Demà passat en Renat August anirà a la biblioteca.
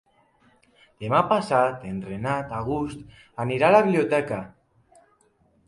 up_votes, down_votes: 3, 0